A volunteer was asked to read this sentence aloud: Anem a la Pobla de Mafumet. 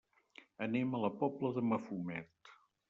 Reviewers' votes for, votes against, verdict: 3, 0, accepted